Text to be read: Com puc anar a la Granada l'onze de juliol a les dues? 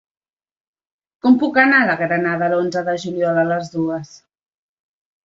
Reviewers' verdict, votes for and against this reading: accepted, 2, 1